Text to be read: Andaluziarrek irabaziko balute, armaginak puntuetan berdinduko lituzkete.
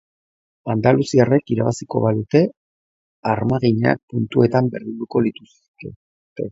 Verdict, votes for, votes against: rejected, 1, 2